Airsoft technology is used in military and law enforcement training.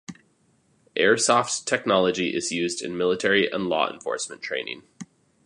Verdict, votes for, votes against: accepted, 2, 0